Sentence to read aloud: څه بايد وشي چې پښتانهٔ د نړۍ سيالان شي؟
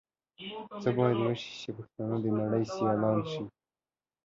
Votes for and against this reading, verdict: 2, 0, accepted